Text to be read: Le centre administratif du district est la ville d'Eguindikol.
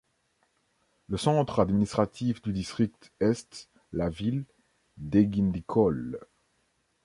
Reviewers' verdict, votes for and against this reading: rejected, 1, 2